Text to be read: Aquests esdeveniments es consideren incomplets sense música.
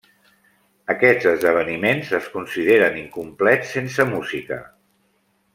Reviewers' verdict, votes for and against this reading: accepted, 2, 1